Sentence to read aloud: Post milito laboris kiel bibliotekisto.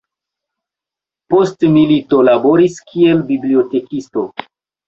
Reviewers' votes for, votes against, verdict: 1, 2, rejected